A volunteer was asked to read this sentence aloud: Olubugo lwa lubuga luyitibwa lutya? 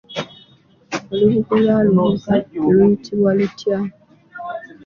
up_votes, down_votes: 2, 3